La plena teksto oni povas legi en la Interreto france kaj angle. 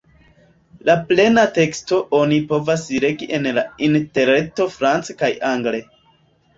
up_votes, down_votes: 2, 1